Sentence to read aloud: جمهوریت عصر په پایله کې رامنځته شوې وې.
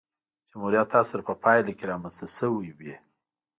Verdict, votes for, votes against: rejected, 1, 2